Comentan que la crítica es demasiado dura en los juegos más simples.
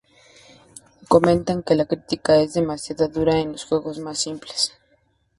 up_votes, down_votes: 2, 0